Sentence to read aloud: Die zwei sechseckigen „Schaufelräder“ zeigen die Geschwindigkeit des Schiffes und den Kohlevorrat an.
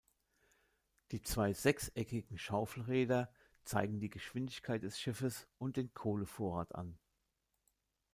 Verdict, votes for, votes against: accepted, 2, 0